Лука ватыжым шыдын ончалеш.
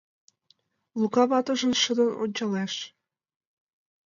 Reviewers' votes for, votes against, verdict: 2, 1, accepted